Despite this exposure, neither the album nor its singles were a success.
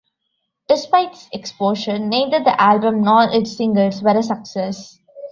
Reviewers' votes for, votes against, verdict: 1, 2, rejected